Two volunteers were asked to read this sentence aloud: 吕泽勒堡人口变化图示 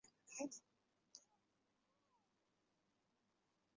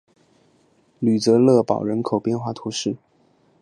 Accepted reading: second